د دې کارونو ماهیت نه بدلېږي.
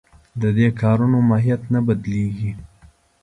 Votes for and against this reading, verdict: 2, 0, accepted